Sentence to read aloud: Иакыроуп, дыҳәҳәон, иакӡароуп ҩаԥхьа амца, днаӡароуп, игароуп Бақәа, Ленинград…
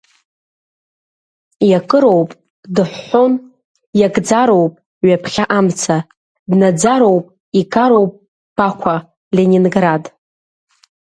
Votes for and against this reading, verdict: 3, 0, accepted